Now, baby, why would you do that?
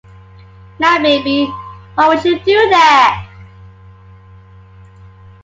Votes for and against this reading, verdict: 2, 0, accepted